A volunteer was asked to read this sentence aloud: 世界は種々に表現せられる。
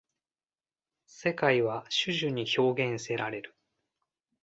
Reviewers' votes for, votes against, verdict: 2, 0, accepted